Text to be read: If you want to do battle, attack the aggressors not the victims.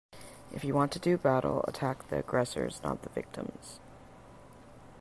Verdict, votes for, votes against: accepted, 2, 0